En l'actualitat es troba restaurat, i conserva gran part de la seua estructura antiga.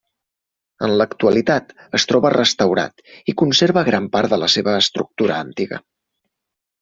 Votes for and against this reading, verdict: 2, 0, accepted